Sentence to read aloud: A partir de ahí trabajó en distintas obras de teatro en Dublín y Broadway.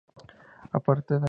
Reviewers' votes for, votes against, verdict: 0, 2, rejected